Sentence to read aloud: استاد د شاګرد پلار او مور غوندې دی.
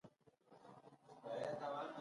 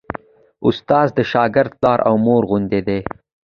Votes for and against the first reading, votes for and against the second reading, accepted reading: 0, 2, 2, 0, second